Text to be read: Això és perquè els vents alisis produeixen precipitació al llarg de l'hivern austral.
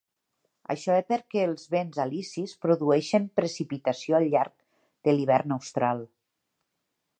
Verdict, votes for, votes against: accepted, 2, 0